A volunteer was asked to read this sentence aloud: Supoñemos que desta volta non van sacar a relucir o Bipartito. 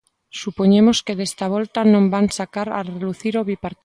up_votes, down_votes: 1, 2